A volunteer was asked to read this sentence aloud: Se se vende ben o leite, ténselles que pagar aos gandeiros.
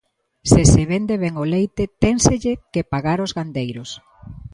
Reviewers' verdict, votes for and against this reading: rejected, 0, 2